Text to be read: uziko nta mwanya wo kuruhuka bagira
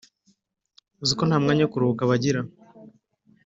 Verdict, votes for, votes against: accepted, 2, 0